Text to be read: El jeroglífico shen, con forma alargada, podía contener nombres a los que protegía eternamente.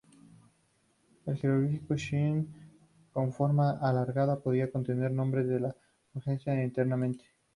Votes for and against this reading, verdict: 0, 2, rejected